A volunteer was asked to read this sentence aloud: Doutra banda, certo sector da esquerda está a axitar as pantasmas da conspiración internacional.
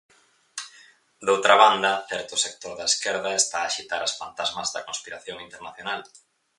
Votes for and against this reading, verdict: 4, 0, accepted